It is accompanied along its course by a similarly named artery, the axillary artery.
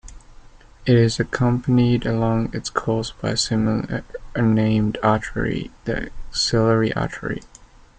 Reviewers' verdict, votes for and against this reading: rejected, 1, 2